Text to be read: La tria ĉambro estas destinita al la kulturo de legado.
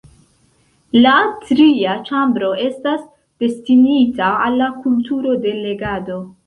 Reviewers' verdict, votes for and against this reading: accepted, 2, 0